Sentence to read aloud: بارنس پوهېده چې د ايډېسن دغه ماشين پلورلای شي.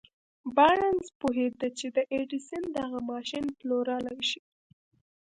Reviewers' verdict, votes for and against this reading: accepted, 2, 0